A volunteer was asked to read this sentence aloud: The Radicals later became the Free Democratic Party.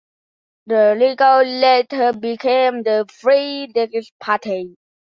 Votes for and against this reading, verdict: 0, 2, rejected